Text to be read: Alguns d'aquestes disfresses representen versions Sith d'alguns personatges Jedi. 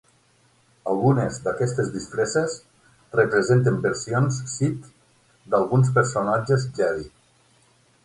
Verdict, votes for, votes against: rejected, 6, 9